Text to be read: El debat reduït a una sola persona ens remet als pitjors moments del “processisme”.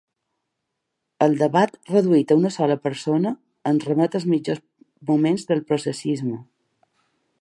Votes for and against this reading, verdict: 0, 2, rejected